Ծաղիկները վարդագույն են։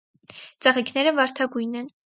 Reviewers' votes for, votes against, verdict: 4, 0, accepted